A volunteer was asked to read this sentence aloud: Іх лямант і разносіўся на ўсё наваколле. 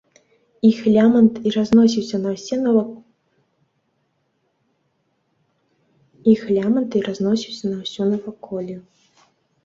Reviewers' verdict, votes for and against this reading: rejected, 0, 2